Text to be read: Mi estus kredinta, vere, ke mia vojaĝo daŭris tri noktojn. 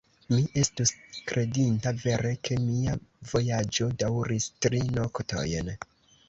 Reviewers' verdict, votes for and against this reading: accepted, 2, 0